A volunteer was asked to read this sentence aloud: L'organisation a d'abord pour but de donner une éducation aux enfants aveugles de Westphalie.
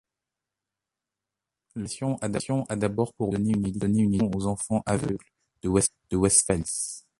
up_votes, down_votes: 0, 2